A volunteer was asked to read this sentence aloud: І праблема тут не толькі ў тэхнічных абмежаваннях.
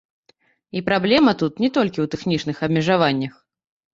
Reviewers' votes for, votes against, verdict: 1, 2, rejected